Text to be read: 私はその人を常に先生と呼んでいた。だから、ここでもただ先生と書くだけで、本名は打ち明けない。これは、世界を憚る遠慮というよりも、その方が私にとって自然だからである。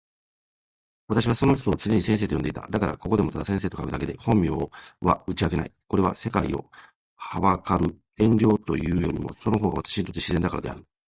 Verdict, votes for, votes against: accepted, 2, 1